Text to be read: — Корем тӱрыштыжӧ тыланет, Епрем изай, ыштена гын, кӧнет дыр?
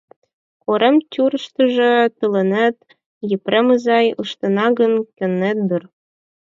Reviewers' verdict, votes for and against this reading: rejected, 0, 4